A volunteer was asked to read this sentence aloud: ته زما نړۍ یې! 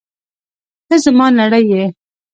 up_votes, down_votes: 1, 2